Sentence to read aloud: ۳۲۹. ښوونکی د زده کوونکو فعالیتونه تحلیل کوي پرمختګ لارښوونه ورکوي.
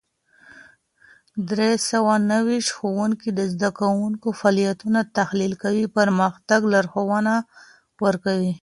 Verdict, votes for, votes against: rejected, 0, 2